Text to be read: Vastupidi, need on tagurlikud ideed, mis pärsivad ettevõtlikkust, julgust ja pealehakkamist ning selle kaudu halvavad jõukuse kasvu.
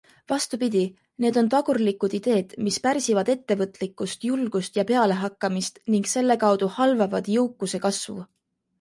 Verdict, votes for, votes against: accepted, 2, 0